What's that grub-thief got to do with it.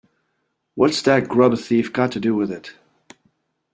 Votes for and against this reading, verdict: 2, 0, accepted